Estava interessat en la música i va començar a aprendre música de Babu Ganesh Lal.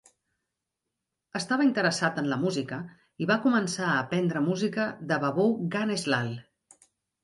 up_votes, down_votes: 3, 0